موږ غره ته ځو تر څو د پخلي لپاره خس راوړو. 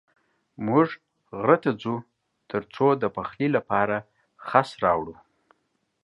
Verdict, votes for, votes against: accepted, 2, 0